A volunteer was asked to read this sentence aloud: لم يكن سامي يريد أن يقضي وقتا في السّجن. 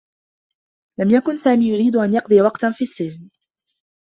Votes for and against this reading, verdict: 2, 0, accepted